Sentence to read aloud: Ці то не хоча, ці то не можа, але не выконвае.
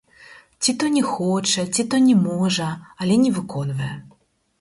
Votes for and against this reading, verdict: 2, 4, rejected